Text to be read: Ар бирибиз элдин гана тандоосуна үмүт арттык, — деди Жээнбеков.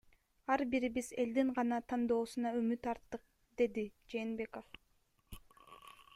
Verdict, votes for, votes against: rejected, 1, 2